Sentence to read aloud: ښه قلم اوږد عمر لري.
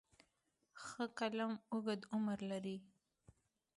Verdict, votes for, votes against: accepted, 2, 0